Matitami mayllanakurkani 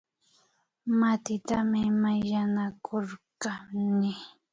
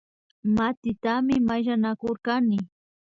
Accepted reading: second